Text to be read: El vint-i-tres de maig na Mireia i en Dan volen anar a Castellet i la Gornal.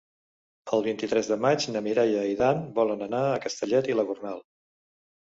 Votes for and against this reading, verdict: 1, 2, rejected